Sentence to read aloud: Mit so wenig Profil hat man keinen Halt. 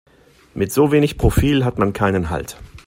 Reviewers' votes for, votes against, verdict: 2, 0, accepted